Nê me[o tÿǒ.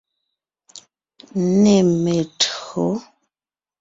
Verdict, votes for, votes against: accepted, 2, 0